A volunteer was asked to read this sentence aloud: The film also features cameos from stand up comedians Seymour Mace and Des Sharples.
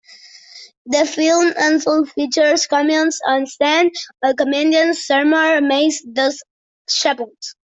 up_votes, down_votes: 0, 2